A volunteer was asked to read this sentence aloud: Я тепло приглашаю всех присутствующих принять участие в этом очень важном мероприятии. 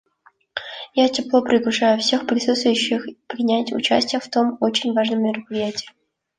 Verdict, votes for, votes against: rejected, 0, 2